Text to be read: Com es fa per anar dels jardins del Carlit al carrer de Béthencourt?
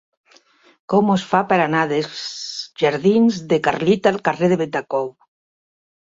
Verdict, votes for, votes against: rejected, 1, 3